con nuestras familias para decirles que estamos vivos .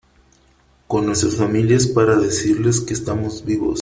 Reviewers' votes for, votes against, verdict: 3, 0, accepted